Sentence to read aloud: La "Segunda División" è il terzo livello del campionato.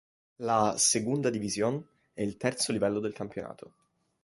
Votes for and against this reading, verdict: 2, 0, accepted